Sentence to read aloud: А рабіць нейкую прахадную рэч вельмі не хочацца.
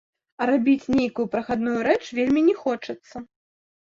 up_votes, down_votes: 0, 2